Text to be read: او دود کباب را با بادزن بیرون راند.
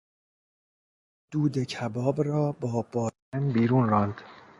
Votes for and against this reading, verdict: 0, 2, rejected